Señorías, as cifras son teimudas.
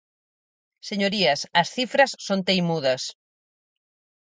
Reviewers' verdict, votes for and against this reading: accepted, 4, 0